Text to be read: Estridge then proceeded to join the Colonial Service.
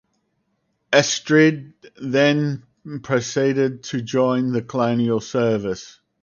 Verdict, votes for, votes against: rejected, 0, 4